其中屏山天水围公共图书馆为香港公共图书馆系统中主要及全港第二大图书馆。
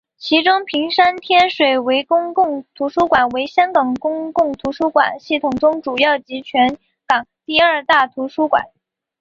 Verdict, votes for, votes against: accepted, 5, 1